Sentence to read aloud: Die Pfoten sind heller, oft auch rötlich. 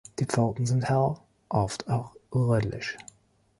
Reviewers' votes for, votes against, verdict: 1, 2, rejected